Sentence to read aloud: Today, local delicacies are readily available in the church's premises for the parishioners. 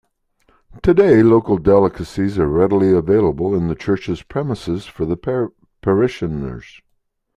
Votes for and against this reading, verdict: 0, 2, rejected